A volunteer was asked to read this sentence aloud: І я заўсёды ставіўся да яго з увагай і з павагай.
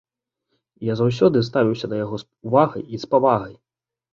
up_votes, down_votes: 2, 0